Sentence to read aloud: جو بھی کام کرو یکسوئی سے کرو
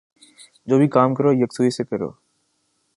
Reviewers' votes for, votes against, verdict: 2, 0, accepted